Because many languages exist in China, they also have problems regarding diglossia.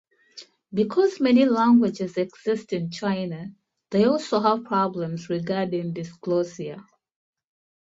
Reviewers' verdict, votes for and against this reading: rejected, 1, 2